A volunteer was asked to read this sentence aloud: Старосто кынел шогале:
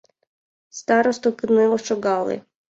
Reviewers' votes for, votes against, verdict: 2, 1, accepted